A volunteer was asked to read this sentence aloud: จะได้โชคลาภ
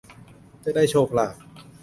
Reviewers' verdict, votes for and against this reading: accepted, 2, 0